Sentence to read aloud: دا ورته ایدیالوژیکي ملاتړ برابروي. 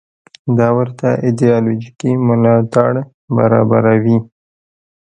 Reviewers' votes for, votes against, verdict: 2, 0, accepted